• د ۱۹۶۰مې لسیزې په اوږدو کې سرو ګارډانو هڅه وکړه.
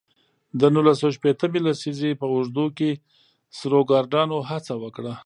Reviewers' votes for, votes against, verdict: 0, 2, rejected